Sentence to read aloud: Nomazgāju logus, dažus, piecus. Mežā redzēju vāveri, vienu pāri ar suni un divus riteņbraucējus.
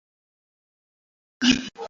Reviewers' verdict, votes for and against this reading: rejected, 0, 2